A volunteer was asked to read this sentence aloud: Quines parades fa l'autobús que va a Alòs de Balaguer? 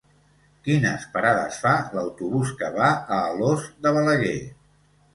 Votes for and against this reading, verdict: 0, 2, rejected